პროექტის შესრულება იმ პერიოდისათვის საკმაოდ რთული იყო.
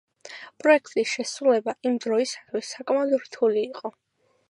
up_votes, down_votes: 2, 0